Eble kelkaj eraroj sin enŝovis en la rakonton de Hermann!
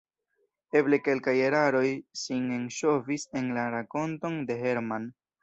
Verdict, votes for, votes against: rejected, 0, 2